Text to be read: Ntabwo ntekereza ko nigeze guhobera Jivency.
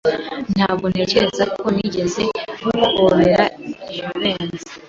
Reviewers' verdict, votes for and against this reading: accepted, 2, 0